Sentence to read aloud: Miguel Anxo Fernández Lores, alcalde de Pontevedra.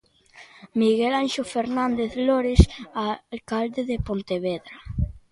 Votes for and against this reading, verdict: 1, 2, rejected